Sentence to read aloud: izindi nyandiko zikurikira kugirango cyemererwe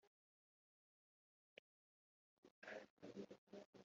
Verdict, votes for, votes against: rejected, 2, 3